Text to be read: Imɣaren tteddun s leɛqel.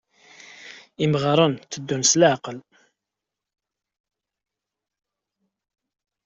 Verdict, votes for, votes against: accepted, 2, 0